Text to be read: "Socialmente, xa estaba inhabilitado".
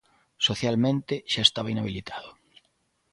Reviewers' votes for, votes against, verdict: 2, 0, accepted